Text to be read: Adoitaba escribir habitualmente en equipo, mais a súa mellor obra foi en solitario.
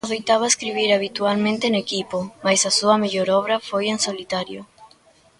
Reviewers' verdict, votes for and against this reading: rejected, 1, 2